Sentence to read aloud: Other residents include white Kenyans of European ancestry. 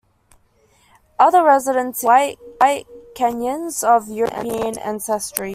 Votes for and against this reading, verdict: 0, 2, rejected